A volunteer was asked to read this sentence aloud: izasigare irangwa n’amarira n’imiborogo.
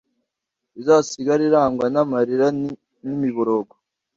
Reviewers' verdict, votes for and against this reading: rejected, 1, 2